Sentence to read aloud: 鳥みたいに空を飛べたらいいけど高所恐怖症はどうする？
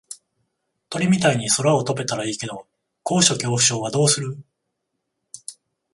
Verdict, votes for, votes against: accepted, 14, 0